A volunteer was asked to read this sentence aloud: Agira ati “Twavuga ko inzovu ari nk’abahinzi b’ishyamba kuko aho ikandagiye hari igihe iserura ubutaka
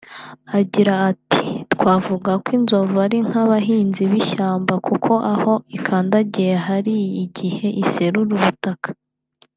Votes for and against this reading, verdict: 2, 0, accepted